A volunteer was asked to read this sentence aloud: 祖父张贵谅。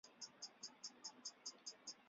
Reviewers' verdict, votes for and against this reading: rejected, 0, 4